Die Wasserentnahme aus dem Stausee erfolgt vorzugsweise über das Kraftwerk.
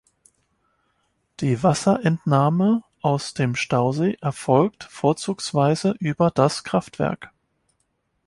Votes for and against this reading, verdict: 2, 0, accepted